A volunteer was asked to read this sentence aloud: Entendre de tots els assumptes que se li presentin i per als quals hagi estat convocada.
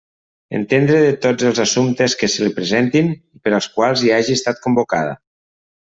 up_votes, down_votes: 0, 2